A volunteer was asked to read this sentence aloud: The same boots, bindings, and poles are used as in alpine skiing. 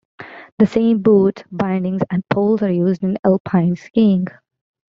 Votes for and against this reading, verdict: 0, 2, rejected